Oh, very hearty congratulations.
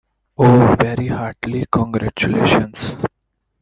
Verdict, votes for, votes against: rejected, 0, 2